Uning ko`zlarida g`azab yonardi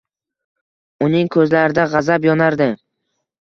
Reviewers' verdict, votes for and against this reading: accepted, 2, 0